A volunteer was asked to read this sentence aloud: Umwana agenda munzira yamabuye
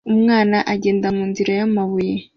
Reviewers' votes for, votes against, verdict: 2, 0, accepted